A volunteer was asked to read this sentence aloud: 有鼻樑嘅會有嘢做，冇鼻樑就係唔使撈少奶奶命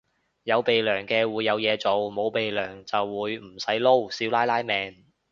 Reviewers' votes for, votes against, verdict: 1, 2, rejected